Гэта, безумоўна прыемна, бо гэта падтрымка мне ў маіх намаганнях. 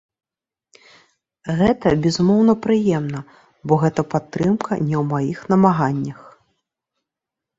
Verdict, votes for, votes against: rejected, 1, 2